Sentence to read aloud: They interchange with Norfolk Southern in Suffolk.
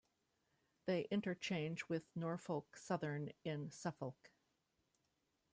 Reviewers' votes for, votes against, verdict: 1, 3, rejected